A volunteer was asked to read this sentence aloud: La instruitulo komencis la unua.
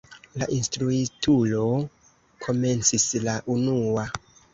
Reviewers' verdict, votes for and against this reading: rejected, 0, 2